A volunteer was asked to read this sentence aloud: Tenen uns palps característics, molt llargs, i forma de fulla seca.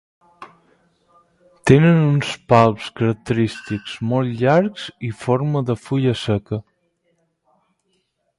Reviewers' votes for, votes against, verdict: 4, 0, accepted